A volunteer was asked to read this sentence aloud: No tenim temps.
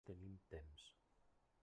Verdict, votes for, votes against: rejected, 0, 2